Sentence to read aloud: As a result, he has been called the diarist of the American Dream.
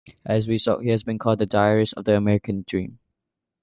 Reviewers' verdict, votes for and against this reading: rejected, 0, 2